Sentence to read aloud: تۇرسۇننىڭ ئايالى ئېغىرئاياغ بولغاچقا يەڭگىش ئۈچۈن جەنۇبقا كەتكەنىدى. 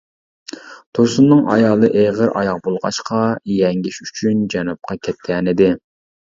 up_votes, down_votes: 3, 0